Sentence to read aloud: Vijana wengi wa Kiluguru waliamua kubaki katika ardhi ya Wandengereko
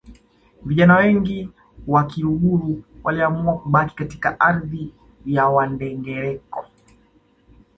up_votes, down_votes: 1, 2